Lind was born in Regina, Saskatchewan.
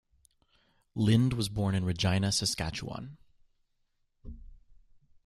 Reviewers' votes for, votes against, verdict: 2, 0, accepted